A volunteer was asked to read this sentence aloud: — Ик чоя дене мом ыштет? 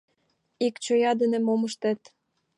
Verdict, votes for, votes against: accepted, 2, 0